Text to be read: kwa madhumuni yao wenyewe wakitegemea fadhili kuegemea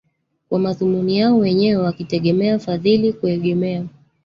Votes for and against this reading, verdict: 1, 2, rejected